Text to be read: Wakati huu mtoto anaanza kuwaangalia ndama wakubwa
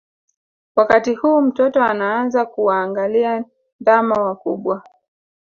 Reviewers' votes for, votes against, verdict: 1, 2, rejected